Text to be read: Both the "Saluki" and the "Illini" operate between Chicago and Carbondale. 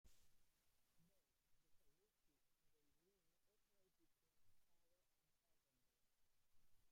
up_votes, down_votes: 0, 2